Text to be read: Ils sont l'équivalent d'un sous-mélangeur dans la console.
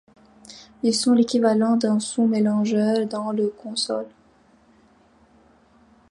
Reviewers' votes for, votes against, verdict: 0, 2, rejected